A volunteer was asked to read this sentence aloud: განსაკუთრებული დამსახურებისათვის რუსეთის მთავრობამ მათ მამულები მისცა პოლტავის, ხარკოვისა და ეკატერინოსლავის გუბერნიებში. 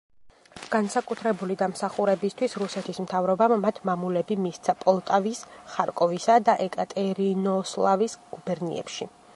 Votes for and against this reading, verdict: 0, 2, rejected